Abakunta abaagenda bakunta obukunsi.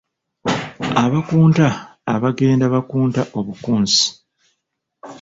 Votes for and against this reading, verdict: 2, 0, accepted